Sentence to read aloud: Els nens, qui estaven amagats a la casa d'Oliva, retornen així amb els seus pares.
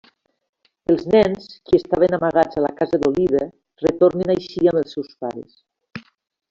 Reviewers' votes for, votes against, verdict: 1, 2, rejected